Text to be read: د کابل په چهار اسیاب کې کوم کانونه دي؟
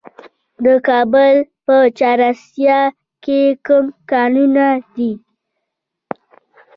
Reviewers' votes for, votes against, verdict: 1, 2, rejected